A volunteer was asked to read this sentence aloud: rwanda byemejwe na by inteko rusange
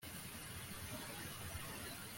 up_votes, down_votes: 0, 2